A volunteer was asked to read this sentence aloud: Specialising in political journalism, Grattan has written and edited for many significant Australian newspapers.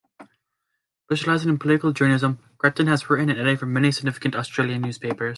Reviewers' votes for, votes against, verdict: 1, 2, rejected